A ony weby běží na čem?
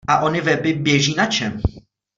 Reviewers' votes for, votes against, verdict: 2, 0, accepted